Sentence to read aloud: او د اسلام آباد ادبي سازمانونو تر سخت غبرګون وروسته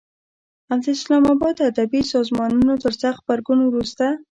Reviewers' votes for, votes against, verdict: 1, 2, rejected